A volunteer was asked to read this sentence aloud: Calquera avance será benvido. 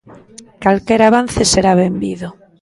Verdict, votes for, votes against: accepted, 2, 0